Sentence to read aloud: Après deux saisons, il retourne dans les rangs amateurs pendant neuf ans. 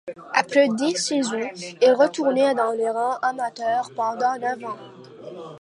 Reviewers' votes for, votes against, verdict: 1, 2, rejected